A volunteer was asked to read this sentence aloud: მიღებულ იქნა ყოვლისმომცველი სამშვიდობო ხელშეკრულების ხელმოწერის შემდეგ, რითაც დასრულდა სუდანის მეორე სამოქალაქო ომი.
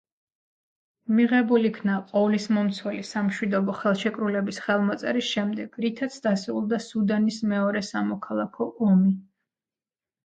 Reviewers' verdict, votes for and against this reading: rejected, 1, 2